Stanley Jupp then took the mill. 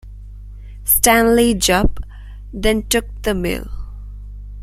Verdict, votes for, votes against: accepted, 2, 0